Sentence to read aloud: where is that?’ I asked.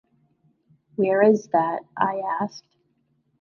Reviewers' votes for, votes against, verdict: 2, 1, accepted